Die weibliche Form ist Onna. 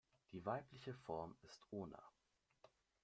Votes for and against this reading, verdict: 1, 2, rejected